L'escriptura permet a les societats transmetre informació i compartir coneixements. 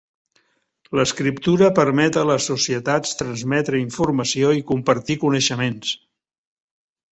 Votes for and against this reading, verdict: 3, 0, accepted